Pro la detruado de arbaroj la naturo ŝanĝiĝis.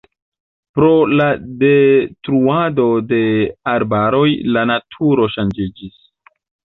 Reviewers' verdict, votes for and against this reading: rejected, 0, 2